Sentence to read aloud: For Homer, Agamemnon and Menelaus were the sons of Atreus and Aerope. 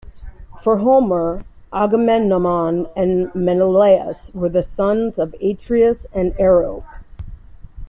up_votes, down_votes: 1, 2